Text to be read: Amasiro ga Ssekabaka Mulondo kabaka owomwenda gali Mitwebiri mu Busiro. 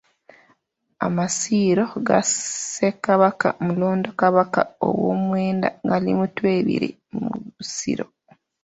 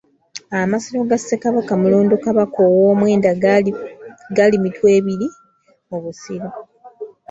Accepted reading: second